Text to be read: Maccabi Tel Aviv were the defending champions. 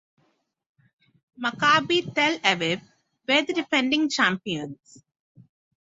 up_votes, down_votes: 6, 0